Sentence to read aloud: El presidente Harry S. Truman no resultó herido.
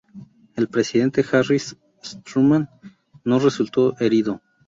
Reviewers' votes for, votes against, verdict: 0, 2, rejected